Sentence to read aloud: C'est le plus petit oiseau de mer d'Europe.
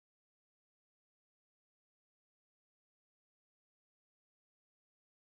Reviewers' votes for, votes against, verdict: 0, 2, rejected